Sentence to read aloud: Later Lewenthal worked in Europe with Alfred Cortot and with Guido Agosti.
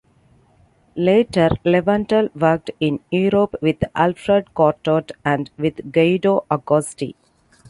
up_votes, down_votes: 2, 0